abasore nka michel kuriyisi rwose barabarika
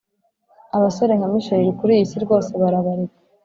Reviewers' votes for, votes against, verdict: 3, 0, accepted